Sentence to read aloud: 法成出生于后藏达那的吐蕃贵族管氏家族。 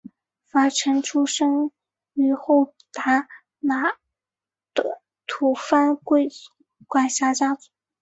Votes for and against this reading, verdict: 2, 0, accepted